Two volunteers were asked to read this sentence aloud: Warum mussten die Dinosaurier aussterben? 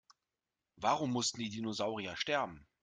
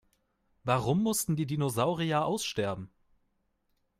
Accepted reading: second